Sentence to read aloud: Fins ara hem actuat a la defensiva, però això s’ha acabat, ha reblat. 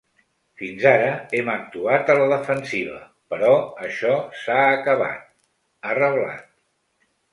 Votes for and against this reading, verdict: 3, 0, accepted